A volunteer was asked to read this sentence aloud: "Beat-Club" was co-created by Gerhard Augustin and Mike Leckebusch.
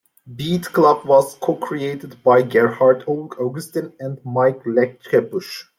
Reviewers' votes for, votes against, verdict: 2, 0, accepted